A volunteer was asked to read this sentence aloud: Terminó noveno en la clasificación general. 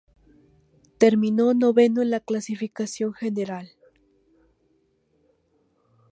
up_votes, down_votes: 2, 0